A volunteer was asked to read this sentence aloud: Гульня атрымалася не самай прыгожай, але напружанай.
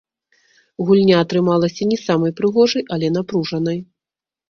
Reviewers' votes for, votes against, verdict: 1, 2, rejected